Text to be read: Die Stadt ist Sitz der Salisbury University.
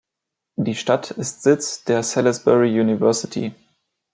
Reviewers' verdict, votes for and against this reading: accepted, 2, 0